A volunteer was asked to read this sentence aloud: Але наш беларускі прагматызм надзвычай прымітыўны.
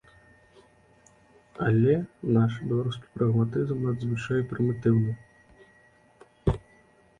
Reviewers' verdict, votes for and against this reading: accepted, 2, 0